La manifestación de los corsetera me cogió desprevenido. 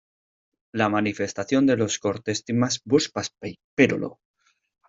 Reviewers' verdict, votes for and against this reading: rejected, 0, 2